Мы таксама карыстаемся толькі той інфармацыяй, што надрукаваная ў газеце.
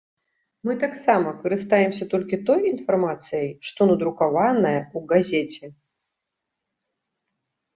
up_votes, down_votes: 1, 2